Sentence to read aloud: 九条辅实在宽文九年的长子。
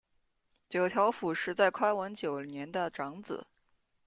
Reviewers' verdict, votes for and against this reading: rejected, 1, 2